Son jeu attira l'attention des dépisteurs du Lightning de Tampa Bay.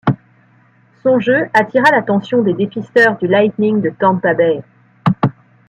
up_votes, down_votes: 2, 0